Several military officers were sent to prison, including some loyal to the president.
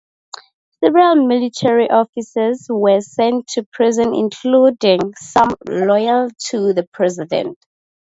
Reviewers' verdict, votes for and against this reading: accepted, 2, 0